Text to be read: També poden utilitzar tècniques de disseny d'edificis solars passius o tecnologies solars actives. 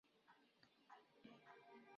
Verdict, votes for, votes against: rejected, 1, 2